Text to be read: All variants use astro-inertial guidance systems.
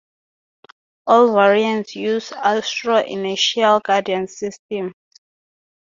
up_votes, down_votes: 2, 2